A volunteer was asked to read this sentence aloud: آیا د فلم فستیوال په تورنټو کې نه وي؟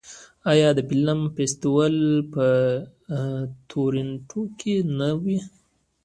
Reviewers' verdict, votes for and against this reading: rejected, 1, 2